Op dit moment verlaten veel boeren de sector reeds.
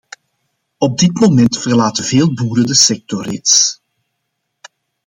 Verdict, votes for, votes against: accepted, 2, 0